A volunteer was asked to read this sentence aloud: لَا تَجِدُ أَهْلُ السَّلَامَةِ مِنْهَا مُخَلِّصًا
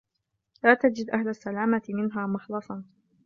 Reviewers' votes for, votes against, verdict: 0, 2, rejected